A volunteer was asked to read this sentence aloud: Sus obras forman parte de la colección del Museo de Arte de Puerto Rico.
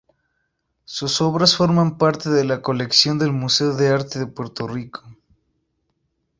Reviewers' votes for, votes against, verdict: 0, 2, rejected